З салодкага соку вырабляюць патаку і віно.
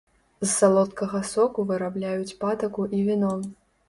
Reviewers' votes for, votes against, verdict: 2, 0, accepted